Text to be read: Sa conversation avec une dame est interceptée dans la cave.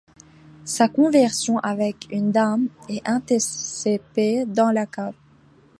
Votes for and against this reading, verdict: 1, 2, rejected